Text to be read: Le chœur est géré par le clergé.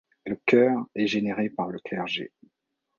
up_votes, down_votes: 1, 2